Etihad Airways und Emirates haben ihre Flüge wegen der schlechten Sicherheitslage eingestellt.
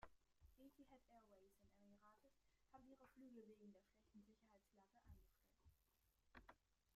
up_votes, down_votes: 1, 2